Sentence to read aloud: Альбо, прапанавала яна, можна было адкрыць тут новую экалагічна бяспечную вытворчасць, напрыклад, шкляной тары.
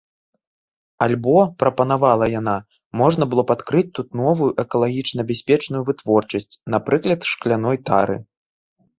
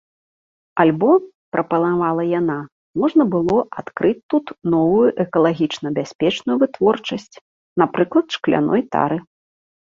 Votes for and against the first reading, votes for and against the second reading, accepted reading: 0, 2, 2, 0, second